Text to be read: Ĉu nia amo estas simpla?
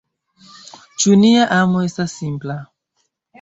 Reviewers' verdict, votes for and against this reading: accepted, 3, 2